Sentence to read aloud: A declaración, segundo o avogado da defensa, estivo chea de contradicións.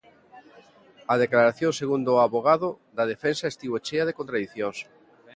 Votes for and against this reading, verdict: 2, 0, accepted